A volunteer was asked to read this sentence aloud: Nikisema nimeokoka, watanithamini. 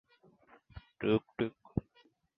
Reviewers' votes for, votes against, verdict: 0, 14, rejected